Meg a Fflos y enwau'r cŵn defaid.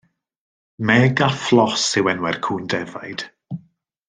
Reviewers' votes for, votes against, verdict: 2, 0, accepted